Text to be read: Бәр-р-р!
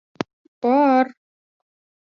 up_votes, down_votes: 0, 2